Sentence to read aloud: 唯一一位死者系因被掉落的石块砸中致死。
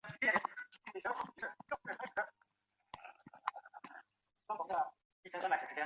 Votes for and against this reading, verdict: 0, 5, rejected